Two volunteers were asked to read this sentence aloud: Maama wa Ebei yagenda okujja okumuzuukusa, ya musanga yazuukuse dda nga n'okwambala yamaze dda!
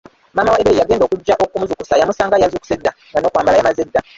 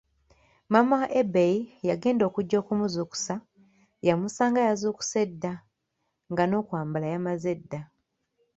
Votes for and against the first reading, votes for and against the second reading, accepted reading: 0, 2, 2, 0, second